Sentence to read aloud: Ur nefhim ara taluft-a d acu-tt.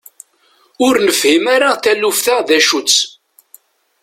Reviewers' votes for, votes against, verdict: 2, 0, accepted